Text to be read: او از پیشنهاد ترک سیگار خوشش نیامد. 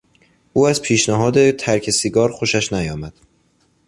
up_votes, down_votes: 2, 0